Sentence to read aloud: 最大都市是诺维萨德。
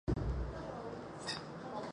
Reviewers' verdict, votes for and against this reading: accepted, 3, 2